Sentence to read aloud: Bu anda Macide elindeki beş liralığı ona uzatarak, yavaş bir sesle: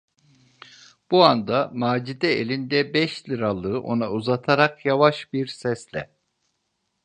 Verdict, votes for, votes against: rejected, 0, 2